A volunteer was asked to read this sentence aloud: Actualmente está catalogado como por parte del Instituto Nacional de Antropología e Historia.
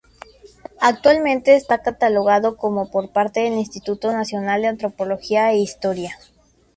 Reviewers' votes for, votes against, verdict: 2, 0, accepted